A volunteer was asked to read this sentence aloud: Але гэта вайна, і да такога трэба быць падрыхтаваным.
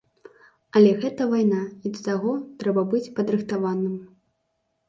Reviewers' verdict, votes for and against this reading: rejected, 0, 2